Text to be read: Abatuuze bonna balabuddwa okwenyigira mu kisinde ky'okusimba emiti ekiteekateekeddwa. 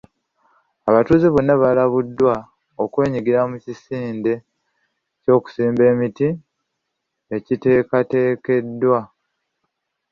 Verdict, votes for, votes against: rejected, 1, 2